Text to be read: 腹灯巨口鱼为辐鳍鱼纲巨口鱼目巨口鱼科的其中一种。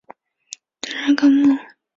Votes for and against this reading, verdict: 0, 2, rejected